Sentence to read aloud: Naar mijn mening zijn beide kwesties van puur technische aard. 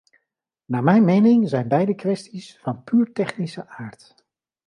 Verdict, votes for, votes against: accepted, 2, 0